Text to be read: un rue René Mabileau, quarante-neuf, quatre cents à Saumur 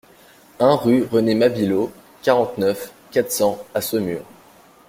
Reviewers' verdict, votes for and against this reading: accepted, 2, 0